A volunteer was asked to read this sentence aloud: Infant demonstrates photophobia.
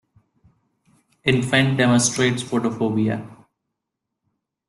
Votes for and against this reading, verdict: 2, 0, accepted